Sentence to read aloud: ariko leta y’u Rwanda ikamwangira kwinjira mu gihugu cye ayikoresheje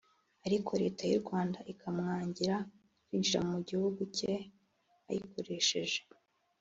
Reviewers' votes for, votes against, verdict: 0, 2, rejected